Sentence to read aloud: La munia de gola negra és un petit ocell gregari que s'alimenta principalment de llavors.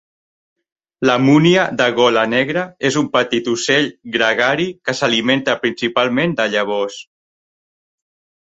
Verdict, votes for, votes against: accepted, 3, 0